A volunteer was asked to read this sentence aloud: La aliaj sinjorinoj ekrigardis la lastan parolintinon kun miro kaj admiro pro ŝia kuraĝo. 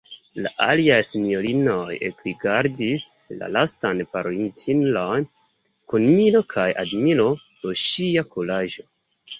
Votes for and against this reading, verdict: 2, 0, accepted